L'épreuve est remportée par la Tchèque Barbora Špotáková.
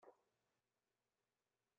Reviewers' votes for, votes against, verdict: 0, 2, rejected